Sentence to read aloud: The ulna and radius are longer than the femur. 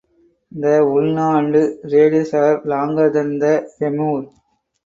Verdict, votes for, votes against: rejected, 2, 4